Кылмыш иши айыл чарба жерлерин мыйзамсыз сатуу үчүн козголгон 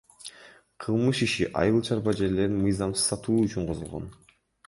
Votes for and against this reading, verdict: 1, 2, rejected